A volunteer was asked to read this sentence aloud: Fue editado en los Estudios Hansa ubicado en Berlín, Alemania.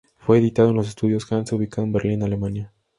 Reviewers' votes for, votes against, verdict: 2, 0, accepted